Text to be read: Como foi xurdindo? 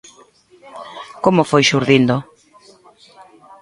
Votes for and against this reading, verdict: 1, 2, rejected